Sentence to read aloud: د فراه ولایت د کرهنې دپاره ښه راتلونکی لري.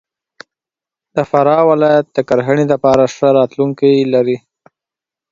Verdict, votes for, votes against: accepted, 2, 0